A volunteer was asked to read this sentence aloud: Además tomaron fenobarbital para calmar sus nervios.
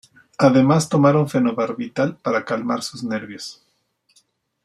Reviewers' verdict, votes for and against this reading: accepted, 2, 0